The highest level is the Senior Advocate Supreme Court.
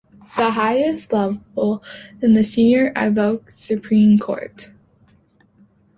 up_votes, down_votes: 0, 2